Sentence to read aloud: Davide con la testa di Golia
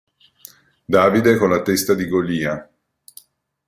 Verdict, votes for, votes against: accepted, 2, 0